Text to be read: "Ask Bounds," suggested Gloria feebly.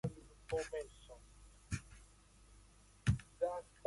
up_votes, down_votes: 0, 2